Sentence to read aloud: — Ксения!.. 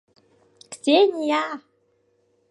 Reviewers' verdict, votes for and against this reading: accepted, 2, 0